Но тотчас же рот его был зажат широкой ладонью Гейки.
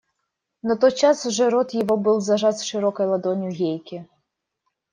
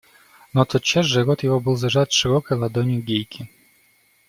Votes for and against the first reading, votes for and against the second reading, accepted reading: 2, 0, 1, 2, first